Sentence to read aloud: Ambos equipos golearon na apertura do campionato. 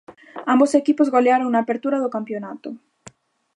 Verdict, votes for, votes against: accepted, 2, 0